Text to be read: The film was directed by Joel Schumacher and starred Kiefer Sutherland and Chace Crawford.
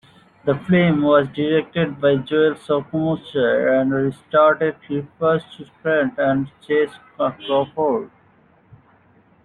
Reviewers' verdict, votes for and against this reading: rejected, 0, 2